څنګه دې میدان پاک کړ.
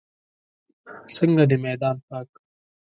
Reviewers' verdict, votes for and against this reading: rejected, 1, 2